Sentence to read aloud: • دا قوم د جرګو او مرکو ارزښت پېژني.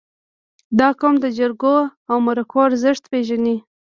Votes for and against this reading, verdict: 1, 2, rejected